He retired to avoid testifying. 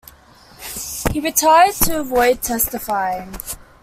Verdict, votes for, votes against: accepted, 2, 0